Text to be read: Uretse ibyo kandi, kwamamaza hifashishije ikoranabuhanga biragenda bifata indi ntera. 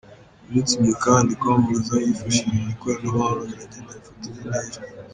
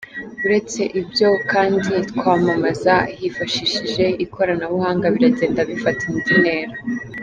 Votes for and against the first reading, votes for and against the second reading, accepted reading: 1, 3, 4, 1, second